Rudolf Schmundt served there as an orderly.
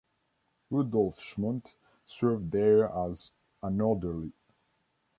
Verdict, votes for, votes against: rejected, 0, 2